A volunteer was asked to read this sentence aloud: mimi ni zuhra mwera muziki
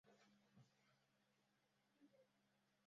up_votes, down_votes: 0, 2